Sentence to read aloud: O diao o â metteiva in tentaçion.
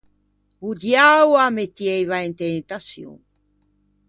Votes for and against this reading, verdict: 0, 2, rejected